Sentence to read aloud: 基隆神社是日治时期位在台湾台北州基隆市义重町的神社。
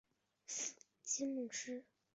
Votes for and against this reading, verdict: 1, 2, rejected